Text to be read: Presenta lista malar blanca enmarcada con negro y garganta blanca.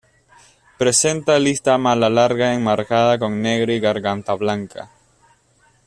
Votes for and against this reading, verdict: 0, 2, rejected